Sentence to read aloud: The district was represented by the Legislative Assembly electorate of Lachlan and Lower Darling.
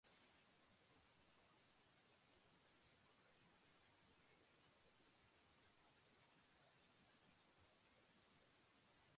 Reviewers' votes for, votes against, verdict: 0, 2, rejected